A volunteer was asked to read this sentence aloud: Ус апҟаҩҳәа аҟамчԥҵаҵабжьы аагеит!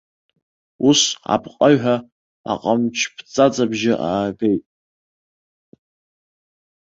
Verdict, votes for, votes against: accepted, 2, 0